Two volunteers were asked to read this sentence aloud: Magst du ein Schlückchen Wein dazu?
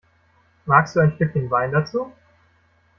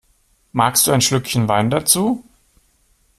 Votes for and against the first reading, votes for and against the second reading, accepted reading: 0, 2, 2, 0, second